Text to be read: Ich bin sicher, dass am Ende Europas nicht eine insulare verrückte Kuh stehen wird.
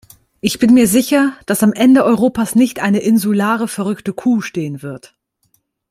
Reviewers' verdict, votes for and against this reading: rejected, 1, 2